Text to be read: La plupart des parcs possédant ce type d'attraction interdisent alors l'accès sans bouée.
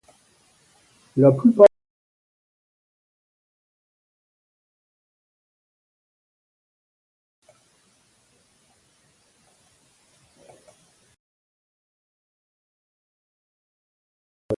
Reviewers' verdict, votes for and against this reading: rejected, 0, 2